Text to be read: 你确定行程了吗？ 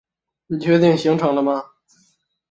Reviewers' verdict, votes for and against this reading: accepted, 5, 0